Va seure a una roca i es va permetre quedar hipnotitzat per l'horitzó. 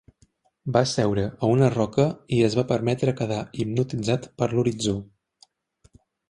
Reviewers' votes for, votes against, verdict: 3, 1, accepted